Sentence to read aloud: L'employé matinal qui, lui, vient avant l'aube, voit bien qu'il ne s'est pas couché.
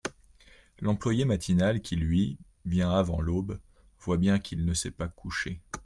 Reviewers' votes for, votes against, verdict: 2, 0, accepted